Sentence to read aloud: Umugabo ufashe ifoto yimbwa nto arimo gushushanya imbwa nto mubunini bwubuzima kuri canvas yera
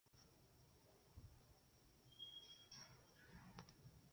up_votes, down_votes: 0, 2